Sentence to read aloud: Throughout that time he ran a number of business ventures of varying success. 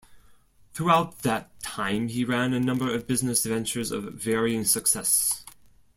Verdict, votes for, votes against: accepted, 2, 0